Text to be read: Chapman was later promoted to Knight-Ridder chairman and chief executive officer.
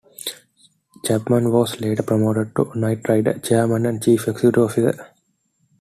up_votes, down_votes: 2, 0